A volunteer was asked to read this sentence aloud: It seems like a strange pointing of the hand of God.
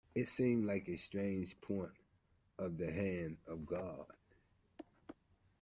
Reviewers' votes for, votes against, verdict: 0, 2, rejected